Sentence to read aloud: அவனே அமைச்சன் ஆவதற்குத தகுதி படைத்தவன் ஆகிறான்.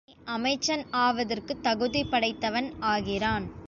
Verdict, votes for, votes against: rejected, 0, 2